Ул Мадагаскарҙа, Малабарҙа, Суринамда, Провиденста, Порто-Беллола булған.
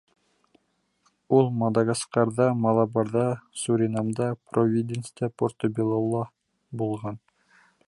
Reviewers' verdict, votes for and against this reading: accepted, 2, 0